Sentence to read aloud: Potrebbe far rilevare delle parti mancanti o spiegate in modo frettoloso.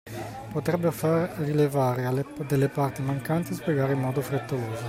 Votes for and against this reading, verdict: 0, 2, rejected